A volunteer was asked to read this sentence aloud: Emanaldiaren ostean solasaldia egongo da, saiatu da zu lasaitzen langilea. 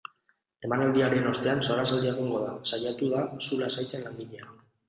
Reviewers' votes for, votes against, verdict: 0, 2, rejected